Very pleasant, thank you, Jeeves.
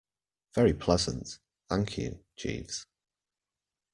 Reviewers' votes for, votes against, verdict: 2, 0, accepted